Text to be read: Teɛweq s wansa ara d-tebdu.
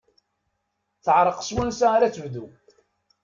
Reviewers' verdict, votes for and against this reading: rejected, 1, 2